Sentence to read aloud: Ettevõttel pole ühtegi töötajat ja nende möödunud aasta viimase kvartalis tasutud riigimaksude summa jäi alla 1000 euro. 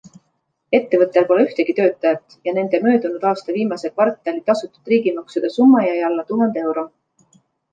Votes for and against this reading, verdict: 0, 2, rejected